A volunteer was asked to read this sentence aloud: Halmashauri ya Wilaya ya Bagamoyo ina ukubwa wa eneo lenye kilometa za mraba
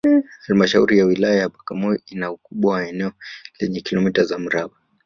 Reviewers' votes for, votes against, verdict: 0, 2, rejected